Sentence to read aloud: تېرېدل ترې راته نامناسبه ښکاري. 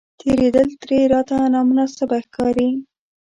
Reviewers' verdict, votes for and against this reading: rejected, 1, 2